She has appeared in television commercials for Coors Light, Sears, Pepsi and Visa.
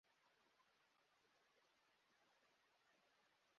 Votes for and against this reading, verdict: 0, 2, rejected